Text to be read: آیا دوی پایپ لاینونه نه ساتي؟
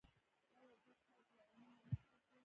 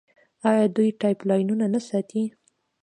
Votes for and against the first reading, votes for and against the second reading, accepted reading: 1, 2, 2, 0, second